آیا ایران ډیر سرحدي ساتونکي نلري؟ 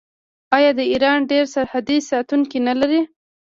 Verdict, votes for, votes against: rejected, 0, 2